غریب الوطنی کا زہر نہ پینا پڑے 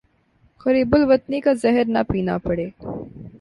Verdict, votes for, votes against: accepted, 2, 0